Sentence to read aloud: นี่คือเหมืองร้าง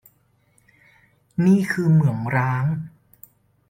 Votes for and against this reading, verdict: 2, 0, accepted